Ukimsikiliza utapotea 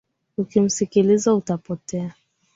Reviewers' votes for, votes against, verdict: 9, 2, accepted